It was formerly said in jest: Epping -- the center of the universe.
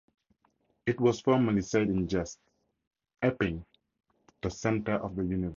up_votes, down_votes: 2, 0